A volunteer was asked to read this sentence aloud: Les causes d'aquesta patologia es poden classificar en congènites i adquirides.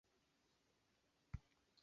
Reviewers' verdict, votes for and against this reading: rejected, 0, 2